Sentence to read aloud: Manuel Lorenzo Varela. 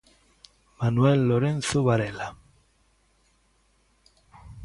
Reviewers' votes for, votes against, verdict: 2, 0, accepted